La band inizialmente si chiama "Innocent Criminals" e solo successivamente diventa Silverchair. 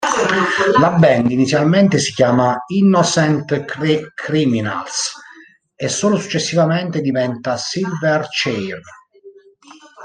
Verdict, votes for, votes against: rejected, 1, 2